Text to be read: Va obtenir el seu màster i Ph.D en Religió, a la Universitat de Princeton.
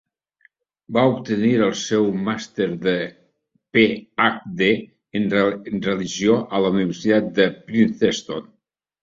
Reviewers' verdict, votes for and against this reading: rejected, 1, 2